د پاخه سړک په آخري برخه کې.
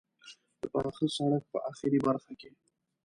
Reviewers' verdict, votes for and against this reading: accepted, 2, 0